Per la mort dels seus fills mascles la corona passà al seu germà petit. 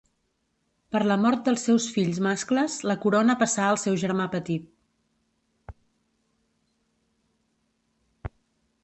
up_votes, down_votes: 2, 0